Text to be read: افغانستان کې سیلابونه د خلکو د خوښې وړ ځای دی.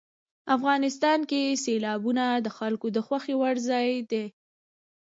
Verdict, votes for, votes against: accepted, 2, 1